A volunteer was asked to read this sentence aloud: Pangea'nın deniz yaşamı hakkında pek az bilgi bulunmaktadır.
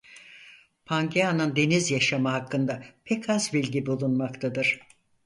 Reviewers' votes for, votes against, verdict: 4, 0, accepted